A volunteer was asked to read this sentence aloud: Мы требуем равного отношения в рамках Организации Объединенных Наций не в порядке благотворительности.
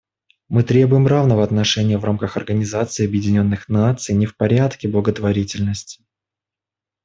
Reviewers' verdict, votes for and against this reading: rejected, 1, 2